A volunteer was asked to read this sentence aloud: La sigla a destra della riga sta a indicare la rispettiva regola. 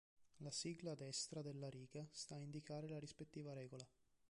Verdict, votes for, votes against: rejected, 0, 2